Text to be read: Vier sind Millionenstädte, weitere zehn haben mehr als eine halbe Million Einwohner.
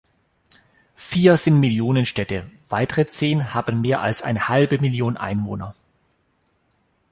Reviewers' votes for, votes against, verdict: 2, 0, accepted